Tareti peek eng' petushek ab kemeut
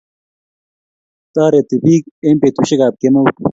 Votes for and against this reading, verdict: 1, 2, rejected